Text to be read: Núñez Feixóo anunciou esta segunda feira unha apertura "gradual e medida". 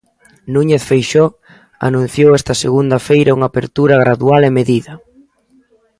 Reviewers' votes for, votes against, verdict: 2, 0, accepted